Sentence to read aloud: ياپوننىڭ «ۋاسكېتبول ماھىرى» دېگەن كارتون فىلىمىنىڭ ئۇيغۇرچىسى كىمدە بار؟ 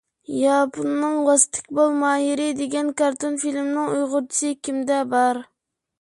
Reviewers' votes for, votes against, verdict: 1, 2, rejected